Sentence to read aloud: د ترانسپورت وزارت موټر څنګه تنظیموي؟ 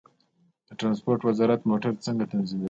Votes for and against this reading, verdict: 0, 2, rejected